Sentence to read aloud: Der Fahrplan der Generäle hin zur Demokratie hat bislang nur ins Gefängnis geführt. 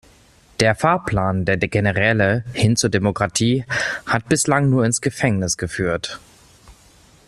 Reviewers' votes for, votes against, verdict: 1, 2, rejected